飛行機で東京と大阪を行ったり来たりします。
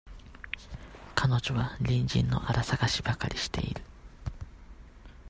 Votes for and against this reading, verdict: 0, 2, rejected